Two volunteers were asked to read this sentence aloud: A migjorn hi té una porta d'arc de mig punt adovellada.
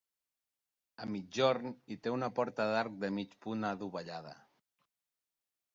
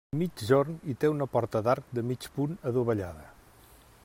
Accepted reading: first